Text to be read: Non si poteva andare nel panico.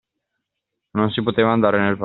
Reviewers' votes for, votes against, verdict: 0, 2, rejected